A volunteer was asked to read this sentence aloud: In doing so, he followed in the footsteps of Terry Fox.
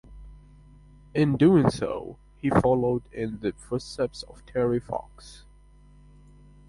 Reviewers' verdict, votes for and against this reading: accepted, 2, 0